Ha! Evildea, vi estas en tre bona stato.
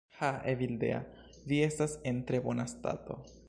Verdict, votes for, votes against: accepted, 2, 0